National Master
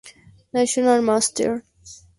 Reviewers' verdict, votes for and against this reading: accepted, 2, 0